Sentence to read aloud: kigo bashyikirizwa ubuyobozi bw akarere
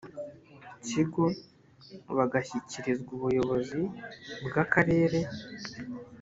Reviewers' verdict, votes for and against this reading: rejected, 2, 3